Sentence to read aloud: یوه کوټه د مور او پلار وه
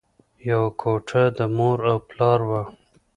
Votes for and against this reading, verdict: 2, 0, accepted